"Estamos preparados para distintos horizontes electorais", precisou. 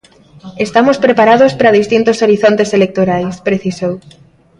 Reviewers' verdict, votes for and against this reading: accepted, 2, 0